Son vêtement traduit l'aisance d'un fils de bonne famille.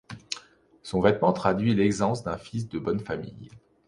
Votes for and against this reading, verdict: 2, 0, accepted